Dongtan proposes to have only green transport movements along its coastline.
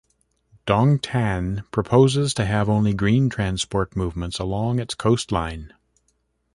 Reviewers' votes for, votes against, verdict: 0, 2, rejected